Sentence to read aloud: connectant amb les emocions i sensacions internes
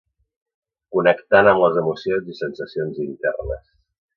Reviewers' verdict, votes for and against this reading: accepted, 2, 0